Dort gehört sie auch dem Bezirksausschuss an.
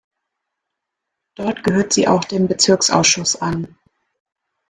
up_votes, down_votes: 1, 2